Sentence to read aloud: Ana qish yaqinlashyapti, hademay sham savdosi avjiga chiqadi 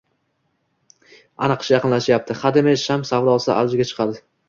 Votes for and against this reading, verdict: 2, 0, accepted